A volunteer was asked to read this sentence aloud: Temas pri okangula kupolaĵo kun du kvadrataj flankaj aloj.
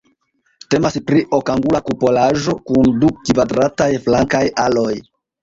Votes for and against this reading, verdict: 2, 1, accepted